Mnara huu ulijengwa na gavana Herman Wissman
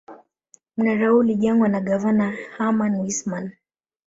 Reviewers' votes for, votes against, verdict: 2, 0, accepted